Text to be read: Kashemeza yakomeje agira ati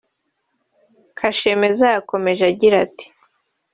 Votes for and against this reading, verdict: 2, 0, accepted